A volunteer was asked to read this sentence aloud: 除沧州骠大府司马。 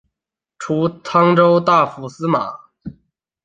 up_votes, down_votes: 0, 2